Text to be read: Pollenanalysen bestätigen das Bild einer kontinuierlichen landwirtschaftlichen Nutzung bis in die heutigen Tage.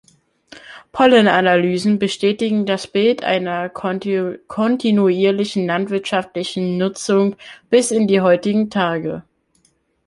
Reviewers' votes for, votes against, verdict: 0, 2, rejected